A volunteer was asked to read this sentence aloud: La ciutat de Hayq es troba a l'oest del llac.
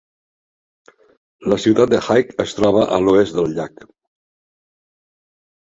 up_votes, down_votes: 2, 0